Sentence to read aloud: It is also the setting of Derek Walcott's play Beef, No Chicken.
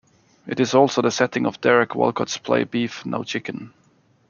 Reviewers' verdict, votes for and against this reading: accepted, 2, 0